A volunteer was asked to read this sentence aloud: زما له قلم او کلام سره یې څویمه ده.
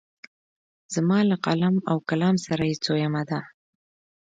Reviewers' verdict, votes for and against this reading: accepted, 2, 0